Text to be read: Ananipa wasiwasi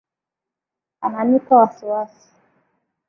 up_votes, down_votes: 2, 0